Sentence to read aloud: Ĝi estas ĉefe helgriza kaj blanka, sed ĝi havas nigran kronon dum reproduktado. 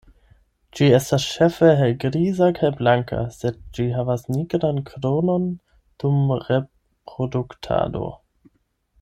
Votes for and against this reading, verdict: 8, 4, accepted